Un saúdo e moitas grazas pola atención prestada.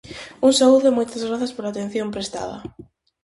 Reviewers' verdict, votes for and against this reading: accepted, 4, 0